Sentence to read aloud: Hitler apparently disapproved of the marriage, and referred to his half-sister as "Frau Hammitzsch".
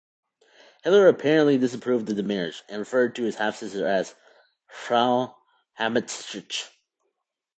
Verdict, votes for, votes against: rejected, 0, 2